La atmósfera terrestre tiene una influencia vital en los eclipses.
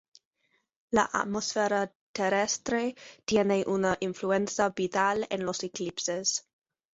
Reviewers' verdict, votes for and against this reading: rejected, 2, 2